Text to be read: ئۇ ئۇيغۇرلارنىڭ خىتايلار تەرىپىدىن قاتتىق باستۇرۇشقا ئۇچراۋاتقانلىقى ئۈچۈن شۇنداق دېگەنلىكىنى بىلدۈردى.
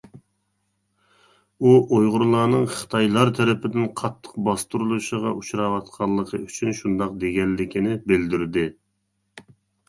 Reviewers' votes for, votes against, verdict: 0, 2, rejected